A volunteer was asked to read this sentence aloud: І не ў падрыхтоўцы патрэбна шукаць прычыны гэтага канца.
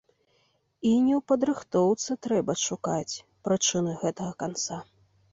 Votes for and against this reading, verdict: 0, 3, rejected